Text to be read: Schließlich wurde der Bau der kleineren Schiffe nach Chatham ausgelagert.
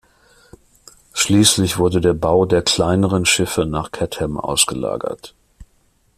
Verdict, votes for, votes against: rejected, 0, 2